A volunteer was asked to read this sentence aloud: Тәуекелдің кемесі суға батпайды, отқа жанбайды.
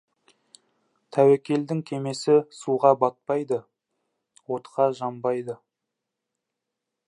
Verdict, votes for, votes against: accepted, 2, 0